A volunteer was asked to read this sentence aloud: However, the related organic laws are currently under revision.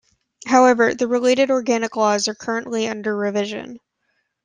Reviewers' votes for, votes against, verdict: 2, 0, accepted